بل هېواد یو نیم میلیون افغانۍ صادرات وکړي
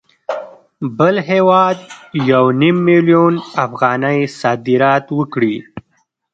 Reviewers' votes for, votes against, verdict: 1, 2, rejected